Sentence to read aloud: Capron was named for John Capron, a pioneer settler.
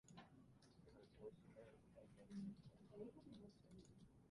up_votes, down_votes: 0, 2